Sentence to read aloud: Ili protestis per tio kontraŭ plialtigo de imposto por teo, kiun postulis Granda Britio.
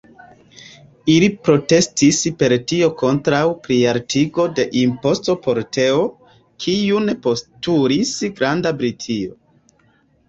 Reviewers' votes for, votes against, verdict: 1, 2, rejected